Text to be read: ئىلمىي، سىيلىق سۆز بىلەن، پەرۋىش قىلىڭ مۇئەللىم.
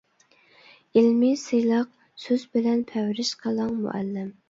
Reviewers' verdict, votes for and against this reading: rejected, 1, 2